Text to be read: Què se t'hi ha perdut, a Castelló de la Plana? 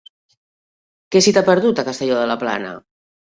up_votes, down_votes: 1, 2